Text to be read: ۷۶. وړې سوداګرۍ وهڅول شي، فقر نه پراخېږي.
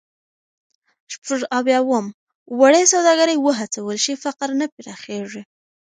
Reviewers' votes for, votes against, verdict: 0, 2, rejected